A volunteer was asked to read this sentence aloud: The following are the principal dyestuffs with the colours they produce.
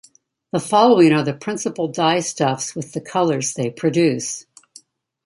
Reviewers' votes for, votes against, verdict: 2, 1, accepted